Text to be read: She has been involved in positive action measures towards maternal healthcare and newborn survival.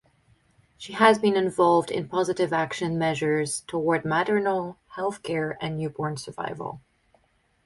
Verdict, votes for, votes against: rejected, 2, 2